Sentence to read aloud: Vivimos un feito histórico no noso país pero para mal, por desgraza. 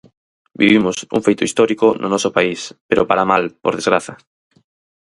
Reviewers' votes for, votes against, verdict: 4, 0, accepted